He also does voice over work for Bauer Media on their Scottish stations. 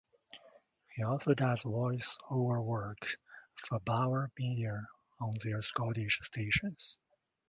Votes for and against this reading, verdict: 2, 0, accepted